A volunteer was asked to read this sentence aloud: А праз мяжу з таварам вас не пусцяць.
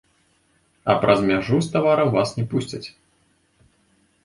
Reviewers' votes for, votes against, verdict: 2, 1, accepted